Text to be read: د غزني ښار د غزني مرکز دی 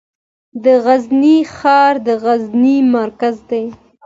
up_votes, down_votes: 2, 0